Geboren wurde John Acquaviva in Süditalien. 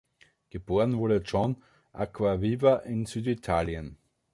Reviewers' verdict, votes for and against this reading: accepted, 2, 0